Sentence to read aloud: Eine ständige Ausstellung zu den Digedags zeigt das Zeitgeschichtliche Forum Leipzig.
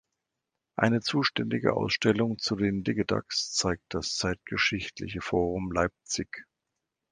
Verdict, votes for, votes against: rejected, 0, 2